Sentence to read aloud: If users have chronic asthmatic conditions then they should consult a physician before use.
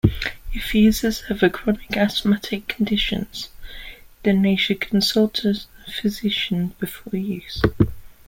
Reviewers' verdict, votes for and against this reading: rejected, 1, 2